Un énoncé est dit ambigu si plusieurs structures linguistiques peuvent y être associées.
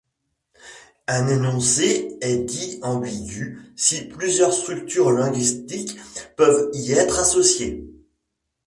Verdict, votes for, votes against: rejected, 1, 2